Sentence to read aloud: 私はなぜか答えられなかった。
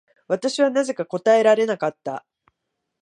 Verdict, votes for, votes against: accepted, 2, 1